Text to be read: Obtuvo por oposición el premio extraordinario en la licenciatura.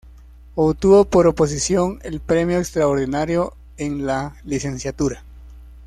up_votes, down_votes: 2, 0